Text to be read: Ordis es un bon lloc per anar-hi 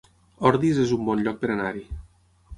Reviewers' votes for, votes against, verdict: 9, 0, accepted